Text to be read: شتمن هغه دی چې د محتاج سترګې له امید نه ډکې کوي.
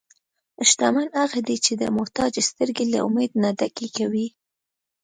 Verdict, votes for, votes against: accepted, 2, 0